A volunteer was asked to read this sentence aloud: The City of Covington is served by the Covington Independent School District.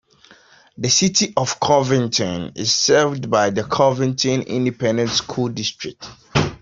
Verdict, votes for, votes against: accepted, 2, 0